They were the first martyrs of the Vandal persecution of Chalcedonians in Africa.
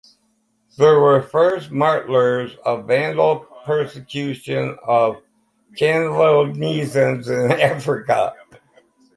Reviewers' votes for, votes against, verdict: 0, 4, rejected